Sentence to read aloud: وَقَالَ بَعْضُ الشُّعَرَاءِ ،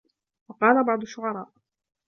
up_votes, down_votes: 2, 0